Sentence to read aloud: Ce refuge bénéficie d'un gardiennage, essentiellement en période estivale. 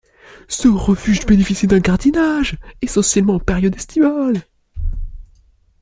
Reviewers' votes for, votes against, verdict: 2, 0, accepted